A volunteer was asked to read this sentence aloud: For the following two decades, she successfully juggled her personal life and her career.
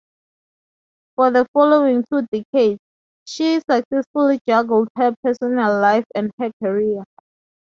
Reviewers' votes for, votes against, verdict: 2, 0, accepted